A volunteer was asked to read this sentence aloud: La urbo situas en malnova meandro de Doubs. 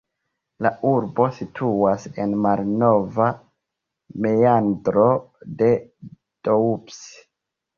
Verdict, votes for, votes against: rejected, 0, 2